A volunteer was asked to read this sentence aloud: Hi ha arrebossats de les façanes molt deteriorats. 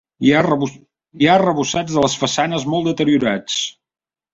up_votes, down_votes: 0, 2